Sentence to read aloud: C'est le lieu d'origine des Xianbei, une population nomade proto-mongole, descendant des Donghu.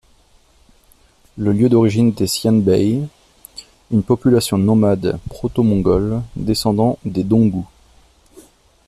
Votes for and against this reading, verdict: 2, 3, rejected